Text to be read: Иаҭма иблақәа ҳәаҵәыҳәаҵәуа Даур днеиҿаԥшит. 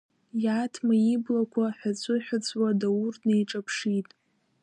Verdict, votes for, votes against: rejected, 1, 2